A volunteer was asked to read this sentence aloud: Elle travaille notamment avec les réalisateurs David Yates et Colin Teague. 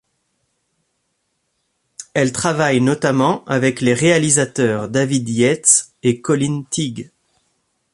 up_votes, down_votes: 2, 0